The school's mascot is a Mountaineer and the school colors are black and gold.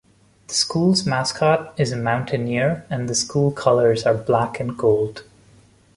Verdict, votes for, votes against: rejected, 1, 2